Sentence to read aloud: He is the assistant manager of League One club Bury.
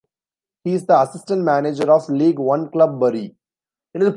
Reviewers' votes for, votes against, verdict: 0, 2, rejected